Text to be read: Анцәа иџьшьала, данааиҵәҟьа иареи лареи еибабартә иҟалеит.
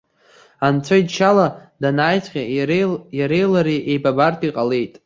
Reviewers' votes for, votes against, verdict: 0, 2, rejected